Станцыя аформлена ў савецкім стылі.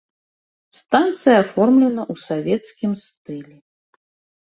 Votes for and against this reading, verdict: 0, 2, rejected